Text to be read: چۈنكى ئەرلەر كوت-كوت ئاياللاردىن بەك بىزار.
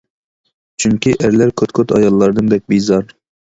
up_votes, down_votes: 2, 0